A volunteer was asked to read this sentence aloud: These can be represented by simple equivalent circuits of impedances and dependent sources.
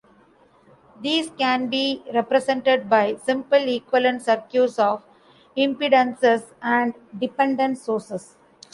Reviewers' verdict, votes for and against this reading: rejected, 0, 2